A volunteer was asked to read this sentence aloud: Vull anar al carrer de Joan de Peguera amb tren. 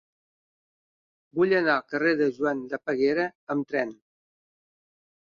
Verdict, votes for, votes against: accepted, 2, 0